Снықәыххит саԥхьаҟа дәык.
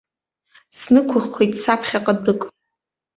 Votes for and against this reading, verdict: 2, 0, accepted